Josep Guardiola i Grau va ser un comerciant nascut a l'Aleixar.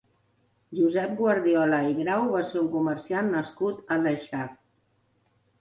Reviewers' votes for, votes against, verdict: 0, 2, rejected